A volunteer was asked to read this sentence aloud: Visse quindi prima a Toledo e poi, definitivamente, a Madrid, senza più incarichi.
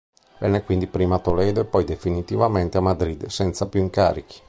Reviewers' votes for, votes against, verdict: 1, 2, rejected